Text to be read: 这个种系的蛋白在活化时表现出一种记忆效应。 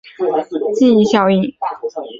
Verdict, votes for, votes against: rejected, 0, 3